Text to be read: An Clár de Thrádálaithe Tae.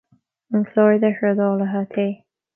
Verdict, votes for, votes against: accepted, 2, 0